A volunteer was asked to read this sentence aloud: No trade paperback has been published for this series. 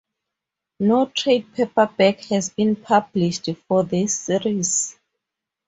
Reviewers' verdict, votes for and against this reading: rejected, 2, 4